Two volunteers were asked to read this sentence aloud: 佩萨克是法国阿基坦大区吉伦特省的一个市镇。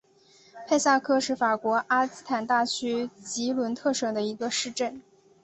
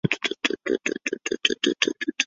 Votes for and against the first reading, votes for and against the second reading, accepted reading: 2, 0, 0, 3, first